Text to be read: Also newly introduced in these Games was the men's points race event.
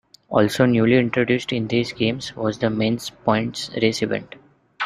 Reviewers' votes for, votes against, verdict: 2, 0, accepted